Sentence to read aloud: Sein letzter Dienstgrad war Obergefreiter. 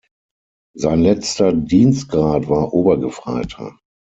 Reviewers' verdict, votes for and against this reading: accepted, 6, 0